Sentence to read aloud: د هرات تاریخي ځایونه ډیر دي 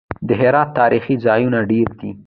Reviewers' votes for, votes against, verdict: 0, 2, rejected